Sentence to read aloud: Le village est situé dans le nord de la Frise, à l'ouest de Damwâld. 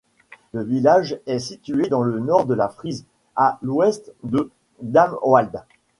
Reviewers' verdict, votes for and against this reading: accepted, 2, 1